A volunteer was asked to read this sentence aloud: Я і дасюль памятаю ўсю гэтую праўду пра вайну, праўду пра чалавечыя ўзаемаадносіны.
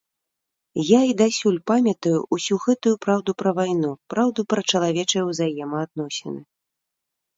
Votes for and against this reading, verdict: 2, 0, accepted